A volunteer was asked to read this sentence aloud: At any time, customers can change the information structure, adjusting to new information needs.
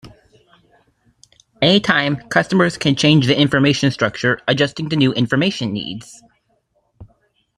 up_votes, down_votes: 1, 2